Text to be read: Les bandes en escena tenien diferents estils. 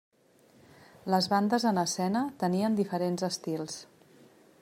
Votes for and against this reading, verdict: 3, 0, accepted